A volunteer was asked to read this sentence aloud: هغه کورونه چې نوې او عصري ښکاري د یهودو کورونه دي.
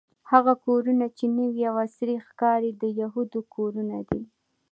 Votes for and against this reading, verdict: 2, 0, accepted